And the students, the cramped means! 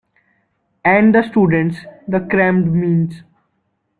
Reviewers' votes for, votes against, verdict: 1, 2, rejected